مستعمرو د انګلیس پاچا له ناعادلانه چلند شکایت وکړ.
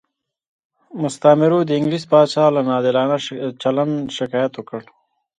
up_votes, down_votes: 1, 2